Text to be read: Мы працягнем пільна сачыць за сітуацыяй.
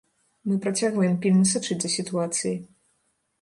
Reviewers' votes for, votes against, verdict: 0, 2, rejected